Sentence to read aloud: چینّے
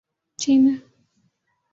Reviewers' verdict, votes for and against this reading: accepted, 15, 1